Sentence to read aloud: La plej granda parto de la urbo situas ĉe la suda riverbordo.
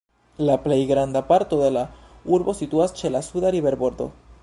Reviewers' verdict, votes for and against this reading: accepted, 2, 1